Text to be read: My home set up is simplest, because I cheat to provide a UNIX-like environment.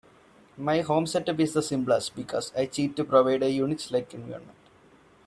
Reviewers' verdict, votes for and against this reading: accepted, 2, 0